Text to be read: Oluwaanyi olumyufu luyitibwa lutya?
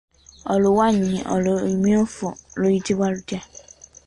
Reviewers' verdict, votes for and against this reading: rejected, 1, 2